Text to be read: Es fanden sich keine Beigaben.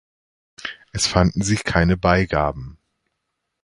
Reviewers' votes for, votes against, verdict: 2, 0, accepted